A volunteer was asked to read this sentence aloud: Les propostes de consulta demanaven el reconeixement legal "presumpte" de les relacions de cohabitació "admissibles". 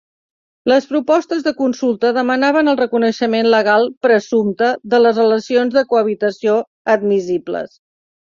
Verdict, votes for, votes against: accepted, 3, 0